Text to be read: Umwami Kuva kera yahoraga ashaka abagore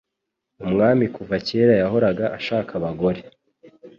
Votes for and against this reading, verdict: 2, 0, accepted